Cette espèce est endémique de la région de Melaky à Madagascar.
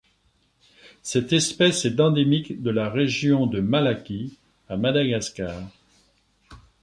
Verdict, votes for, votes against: rejected, 0, 2